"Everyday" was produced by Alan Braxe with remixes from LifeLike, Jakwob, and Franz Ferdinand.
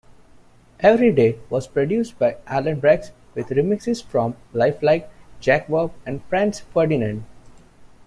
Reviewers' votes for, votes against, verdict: 2, 0, accepted